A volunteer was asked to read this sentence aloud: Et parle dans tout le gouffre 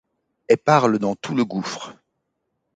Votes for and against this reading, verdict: 2, 0, accepted